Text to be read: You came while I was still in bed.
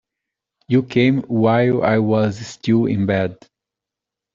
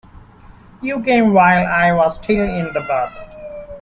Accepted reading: first